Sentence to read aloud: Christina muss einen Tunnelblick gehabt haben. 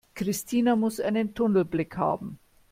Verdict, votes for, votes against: rejected, 0, 2